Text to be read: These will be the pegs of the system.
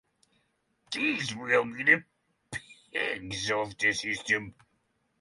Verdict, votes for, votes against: rejected, 3, 3